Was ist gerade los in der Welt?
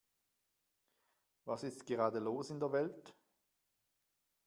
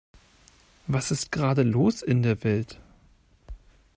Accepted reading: first